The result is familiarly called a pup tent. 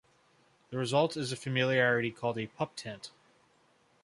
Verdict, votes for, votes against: accepted, 2, 0